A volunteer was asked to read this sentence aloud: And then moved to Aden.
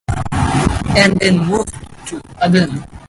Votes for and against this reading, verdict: 2, 2, rejected